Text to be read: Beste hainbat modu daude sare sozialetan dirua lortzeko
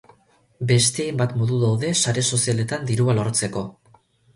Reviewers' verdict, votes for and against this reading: rejected, 2, 2